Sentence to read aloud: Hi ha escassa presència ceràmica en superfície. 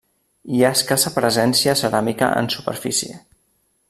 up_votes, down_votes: 3, 0